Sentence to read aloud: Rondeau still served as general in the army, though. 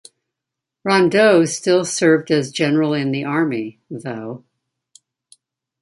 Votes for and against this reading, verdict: 1, 2, rejected